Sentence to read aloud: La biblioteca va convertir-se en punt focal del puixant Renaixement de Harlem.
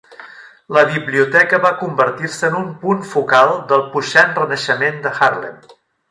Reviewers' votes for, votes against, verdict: 0, 2, rejected